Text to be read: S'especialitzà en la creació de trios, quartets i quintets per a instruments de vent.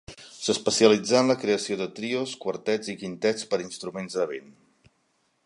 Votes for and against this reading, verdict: 2, 0, accepted